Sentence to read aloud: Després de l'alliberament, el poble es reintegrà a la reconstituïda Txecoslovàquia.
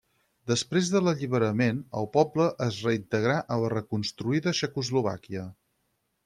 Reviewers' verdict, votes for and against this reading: rejected, 0, 4